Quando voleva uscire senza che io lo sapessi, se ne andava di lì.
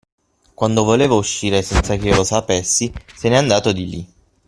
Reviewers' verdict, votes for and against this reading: rejected, 0, 6